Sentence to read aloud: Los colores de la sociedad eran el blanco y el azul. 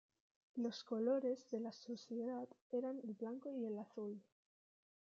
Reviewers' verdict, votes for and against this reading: accepted, 2, 0